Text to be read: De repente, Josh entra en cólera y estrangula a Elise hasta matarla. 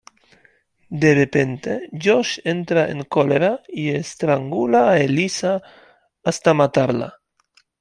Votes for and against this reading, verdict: 1, 2, rejected